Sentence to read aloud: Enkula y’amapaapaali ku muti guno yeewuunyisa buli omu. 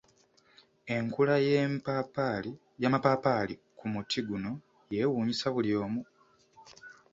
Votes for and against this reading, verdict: 0, 2, rejected